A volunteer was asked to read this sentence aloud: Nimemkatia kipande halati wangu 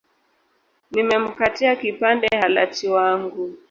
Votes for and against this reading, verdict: 1, 2, rejected